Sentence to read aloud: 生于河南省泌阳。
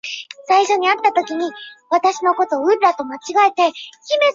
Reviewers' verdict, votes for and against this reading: accepted, 2, 1